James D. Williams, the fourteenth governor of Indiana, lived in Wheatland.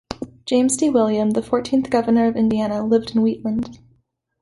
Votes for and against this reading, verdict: 0, 2, rejected